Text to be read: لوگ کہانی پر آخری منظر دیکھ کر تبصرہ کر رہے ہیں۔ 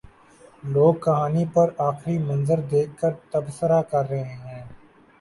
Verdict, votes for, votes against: rejected, 0, 2